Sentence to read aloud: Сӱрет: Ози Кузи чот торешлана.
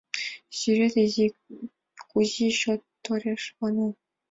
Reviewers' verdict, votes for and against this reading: rejected, 1, 2